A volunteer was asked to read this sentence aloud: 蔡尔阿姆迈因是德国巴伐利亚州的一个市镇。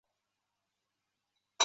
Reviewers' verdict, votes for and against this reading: rejected, 0, 2